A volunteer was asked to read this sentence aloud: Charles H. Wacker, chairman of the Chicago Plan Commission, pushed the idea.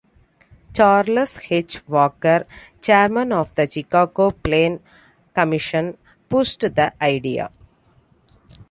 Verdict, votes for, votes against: accepted, 2, 1